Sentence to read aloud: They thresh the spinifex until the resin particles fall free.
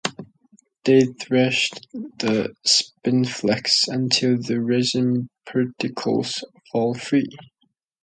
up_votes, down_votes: 0, 2